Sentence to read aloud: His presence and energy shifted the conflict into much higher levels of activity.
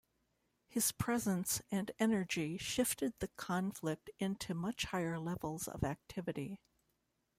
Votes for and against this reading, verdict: 2, 0, accepted